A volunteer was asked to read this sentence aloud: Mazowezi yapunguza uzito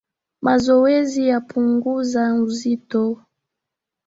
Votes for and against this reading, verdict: 2, 0, accepted